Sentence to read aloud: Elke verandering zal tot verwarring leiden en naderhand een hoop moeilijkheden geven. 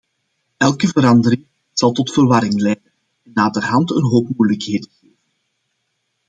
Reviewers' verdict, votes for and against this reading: rejected, 0, 2